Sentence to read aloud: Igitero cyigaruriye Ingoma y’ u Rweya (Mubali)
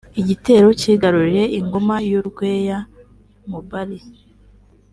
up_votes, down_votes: 2, 0